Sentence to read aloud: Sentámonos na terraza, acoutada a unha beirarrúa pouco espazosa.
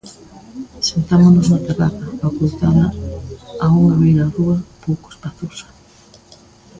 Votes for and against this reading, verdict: 1, 2, rejected